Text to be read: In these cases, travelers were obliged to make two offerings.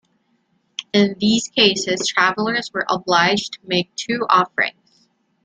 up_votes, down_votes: 2, 0